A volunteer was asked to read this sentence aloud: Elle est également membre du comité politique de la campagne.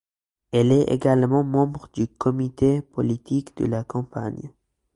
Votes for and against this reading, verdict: 2, 0, accepted